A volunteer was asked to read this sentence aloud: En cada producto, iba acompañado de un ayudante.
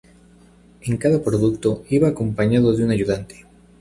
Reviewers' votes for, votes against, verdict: 2, 0, accepted